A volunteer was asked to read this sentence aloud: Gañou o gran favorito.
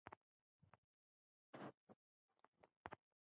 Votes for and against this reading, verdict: 0, 2, rejected